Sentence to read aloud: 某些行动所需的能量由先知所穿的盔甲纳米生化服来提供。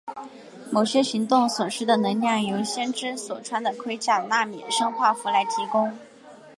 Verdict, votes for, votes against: accepted, 2, 0